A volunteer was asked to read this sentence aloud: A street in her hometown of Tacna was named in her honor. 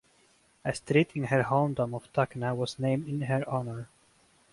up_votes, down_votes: 2, 4